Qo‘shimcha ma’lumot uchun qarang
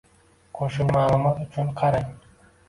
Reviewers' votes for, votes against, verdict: 0, 2, rejected